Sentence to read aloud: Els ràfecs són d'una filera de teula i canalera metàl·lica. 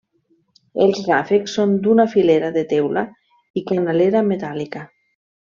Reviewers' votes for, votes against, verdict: 3, 0, accepted